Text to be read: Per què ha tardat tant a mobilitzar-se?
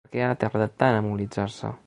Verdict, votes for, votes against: rejected, 1, 2